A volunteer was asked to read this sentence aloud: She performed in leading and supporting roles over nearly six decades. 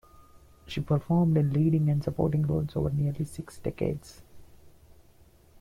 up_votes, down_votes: 2, 0